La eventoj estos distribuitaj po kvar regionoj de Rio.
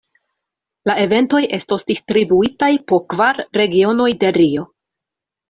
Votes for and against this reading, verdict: 2, 0, accepted